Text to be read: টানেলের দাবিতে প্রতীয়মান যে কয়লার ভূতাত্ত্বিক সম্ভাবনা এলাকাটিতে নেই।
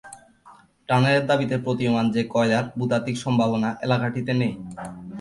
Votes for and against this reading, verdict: 2, 2, rejected